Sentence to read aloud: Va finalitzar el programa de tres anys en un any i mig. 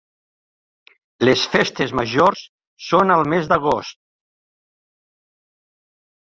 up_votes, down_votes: 0, 2